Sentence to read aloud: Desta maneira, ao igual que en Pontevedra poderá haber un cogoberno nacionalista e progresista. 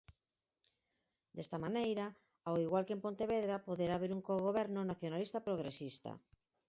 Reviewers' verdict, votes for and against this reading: rejected, 2, 4